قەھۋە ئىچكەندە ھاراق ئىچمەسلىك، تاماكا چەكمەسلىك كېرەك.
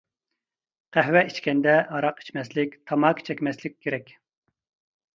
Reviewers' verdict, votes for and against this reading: accepted, 2, 0